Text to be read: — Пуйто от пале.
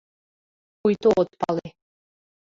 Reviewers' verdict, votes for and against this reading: accepted, 2, 1